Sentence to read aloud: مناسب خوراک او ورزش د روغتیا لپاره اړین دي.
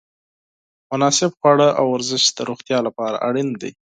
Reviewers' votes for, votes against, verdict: 6, 8, rejected